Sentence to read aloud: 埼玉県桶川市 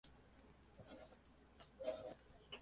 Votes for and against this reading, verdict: 0, 2, rejected